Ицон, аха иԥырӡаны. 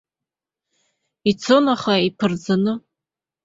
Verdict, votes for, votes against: accepted, 3, 0